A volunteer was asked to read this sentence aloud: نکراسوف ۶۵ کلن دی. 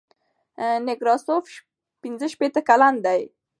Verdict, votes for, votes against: rejected, 0, 2